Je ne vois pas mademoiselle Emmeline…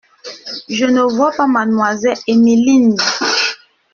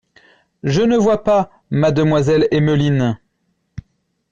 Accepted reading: second